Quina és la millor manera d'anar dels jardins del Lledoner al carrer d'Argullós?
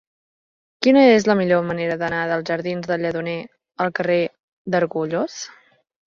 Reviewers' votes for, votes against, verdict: 2, 0, accepted